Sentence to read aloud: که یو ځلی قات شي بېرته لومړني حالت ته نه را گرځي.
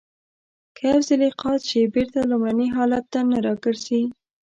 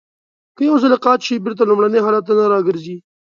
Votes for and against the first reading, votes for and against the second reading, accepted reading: 0, 2, 2, 0, second